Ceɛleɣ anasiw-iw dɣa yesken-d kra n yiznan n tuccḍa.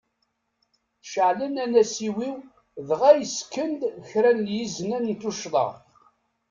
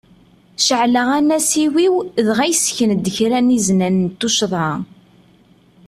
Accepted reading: second